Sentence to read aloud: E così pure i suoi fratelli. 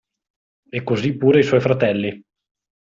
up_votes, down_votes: 2, 0